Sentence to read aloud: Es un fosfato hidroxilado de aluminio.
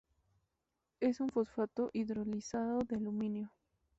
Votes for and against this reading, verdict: 0, 2, rejected